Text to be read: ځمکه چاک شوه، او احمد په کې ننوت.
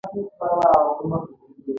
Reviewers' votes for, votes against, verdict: 0, 2, rejected